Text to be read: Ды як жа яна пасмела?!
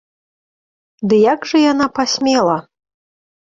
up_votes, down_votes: 2, 0